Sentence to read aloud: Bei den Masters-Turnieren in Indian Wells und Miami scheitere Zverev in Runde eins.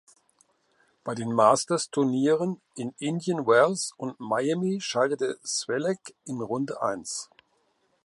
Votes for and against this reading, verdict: 0, 2, rejected